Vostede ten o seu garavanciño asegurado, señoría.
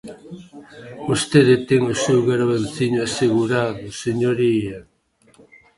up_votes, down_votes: 0, 2